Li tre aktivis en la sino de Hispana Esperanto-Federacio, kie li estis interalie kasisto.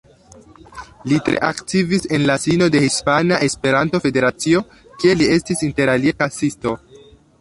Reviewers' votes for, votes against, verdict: 2, 0, accepted